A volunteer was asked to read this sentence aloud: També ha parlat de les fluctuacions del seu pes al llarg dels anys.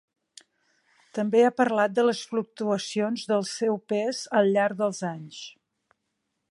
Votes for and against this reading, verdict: 4, 0, accepted